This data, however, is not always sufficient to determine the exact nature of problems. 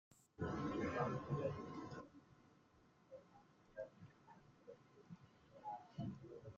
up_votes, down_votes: 0, 2